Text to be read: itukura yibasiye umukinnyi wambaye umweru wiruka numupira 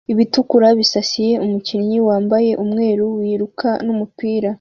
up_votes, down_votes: 0, 2